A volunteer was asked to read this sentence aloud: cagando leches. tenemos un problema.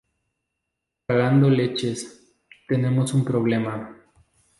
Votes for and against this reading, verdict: 2, 0, accepted